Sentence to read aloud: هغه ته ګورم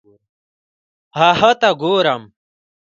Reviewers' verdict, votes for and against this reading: accepted, 2, 1